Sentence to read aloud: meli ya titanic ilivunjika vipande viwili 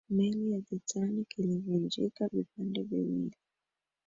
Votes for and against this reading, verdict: 2, 0, accepted